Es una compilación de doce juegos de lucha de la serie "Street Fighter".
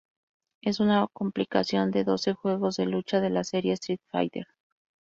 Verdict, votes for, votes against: rejected, 2, 2